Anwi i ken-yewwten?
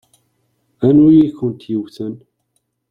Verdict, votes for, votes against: rejected, 1, 2